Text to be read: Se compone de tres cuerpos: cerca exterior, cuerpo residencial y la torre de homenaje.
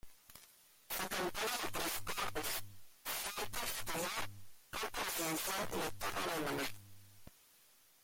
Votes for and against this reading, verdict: 0, 2, rejected